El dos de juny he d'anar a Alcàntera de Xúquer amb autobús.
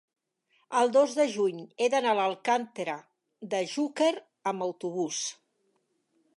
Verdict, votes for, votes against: rejected, 1, 2